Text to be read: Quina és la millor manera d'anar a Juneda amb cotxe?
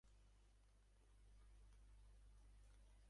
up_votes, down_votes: 0, 3